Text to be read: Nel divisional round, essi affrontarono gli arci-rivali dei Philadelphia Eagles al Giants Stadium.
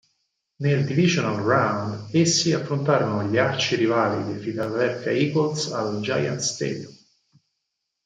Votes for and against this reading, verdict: 2, 4, rejected